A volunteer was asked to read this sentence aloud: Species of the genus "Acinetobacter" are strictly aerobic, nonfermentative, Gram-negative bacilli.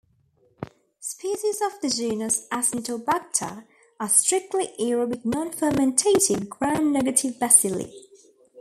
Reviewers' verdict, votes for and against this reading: accepted, 2, 1